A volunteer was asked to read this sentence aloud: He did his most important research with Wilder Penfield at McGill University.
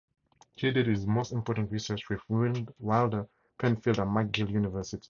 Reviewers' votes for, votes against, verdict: 2, 2, rejected